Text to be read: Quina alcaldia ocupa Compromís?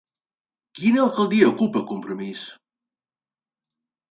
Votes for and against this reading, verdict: 4, 0, accepted